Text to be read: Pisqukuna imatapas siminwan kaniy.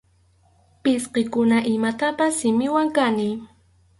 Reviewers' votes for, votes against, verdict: 2, 2, rejected